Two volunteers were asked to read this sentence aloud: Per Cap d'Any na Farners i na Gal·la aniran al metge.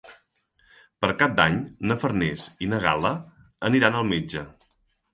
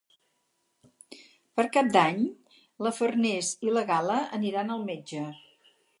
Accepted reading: first